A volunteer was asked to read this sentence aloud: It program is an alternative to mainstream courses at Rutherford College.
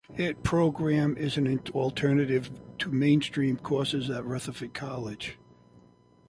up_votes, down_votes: 2, 0